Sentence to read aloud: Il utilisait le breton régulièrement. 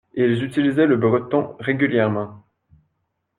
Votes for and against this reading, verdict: 1, 2, rejected